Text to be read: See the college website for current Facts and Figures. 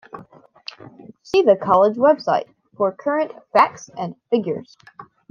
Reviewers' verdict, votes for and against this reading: accepted, 2, 0